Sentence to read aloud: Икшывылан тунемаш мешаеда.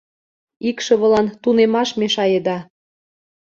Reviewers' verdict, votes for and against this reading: accepted, 2, 0